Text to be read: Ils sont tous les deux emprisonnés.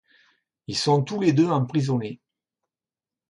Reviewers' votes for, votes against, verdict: 2, 0, accepted